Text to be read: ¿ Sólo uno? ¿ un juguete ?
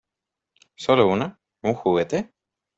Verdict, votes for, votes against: accepted, 2, 0